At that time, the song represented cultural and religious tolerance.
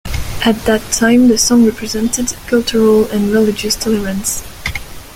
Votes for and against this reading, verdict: 1, 2, rejected